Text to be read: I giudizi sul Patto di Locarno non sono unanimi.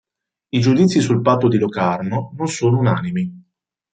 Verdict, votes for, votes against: accepted, 2, 0